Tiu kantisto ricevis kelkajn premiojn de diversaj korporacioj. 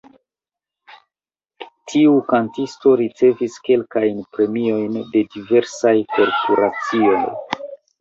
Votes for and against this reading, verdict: 1, 2, rejected